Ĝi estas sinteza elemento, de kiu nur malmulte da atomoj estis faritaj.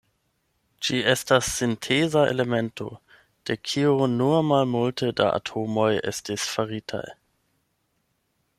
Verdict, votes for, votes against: accepted, 8, 0